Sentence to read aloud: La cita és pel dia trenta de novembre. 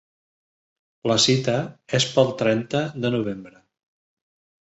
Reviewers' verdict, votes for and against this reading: rejected, 0, 2